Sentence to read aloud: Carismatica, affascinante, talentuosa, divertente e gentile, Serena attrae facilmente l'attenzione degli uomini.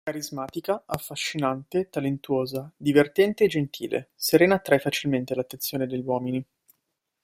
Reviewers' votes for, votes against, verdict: 2, 0, accepted